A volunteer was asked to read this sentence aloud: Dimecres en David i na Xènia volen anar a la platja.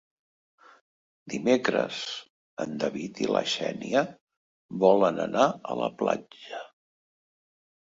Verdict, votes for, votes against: rejected, 1, 2